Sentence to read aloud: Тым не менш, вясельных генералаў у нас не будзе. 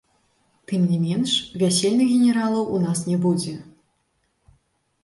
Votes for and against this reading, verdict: 2, 3, rejected